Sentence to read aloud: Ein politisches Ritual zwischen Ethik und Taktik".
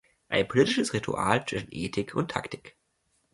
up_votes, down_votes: 1, 2